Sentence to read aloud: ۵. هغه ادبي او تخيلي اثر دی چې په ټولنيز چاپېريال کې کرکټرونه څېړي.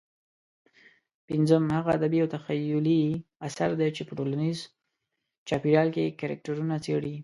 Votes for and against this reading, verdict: 0, 2, rejected